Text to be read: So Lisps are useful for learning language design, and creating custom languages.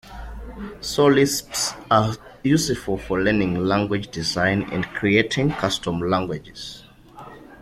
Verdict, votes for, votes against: accepted, 2, 0